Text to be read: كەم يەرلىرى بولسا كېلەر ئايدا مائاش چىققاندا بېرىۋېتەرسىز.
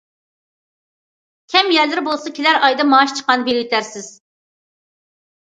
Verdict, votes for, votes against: accepted, 2, 1